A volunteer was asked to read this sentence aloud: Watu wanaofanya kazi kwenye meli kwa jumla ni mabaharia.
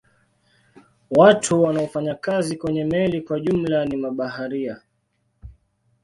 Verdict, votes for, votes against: accepted, 2, 1